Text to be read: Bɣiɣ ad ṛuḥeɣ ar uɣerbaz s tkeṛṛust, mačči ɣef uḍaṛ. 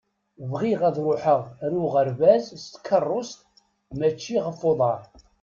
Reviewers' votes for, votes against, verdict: 2, 1, accepted